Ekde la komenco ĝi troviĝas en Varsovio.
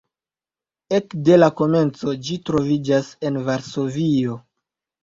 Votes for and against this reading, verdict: 2, 0, accepted